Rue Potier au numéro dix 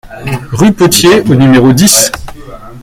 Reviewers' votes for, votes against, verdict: 2, 1, accepted